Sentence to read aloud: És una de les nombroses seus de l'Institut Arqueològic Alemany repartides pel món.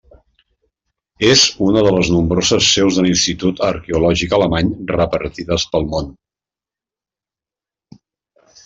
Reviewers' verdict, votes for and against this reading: accepted, 3, 0